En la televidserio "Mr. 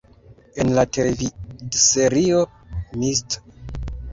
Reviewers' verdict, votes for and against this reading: rejected, 1, 2